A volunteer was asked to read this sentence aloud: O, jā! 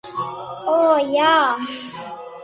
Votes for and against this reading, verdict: 0, 2, rejected